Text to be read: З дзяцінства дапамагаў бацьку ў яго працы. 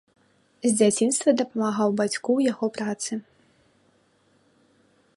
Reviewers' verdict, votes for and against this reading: rejected, 1, 2